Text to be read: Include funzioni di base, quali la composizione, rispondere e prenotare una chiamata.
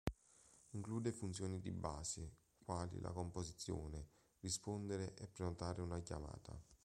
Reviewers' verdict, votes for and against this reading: accepted, 2, 0